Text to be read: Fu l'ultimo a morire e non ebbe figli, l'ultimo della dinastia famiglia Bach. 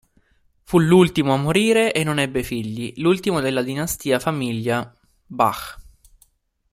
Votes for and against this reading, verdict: 2, 0, accepted